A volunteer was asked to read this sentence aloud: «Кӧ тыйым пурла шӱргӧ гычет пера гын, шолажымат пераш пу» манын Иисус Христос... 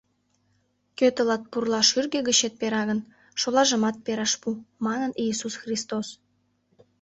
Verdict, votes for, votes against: rejected, 1, 2